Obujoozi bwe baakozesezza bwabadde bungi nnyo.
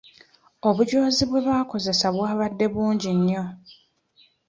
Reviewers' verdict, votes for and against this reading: rejected, 0, 2